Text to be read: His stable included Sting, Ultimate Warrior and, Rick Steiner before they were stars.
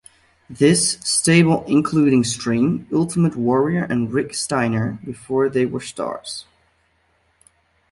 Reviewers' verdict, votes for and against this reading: rejected, 0, 2